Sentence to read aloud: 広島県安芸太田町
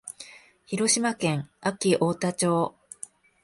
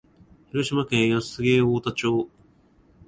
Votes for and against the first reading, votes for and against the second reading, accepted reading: 4, 0, 1, 2, first